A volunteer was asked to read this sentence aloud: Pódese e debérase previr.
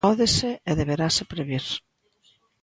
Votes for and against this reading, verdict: 1, 2, rejected